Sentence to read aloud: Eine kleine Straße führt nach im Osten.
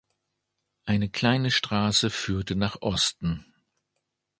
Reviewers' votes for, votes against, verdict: 1, 2, rejected